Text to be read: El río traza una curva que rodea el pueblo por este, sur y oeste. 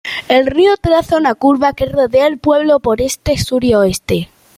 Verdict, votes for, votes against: accepted, 2, 0